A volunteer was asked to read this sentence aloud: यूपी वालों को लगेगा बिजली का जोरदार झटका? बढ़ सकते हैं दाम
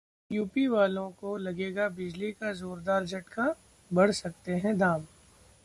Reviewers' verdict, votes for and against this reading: accepted, 2, 1